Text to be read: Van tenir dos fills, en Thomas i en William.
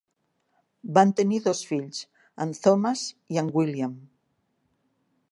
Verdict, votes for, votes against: accepted, 4, 0